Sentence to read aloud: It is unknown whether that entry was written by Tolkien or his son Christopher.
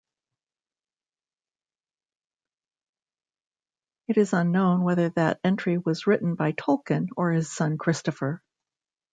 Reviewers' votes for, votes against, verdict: 2, 1, accepted